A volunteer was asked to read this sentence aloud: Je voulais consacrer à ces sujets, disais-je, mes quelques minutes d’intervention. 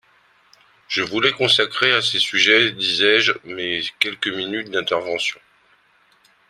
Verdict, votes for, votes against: rejected, 0, 2